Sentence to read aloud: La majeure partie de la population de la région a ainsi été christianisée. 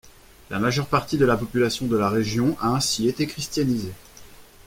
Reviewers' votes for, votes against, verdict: 2, 0, accepted